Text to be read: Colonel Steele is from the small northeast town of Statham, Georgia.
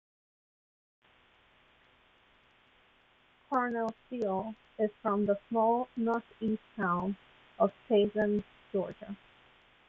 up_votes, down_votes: 0, 2